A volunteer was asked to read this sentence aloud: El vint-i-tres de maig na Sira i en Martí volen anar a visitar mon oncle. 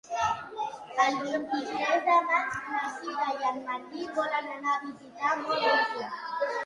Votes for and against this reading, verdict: 0, 2, rejected